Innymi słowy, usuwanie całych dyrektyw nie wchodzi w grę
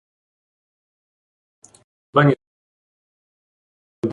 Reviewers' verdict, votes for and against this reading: rejected, 0, 2